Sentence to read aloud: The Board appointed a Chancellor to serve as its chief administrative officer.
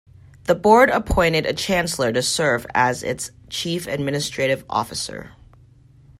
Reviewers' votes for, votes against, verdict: 2, 0, accepted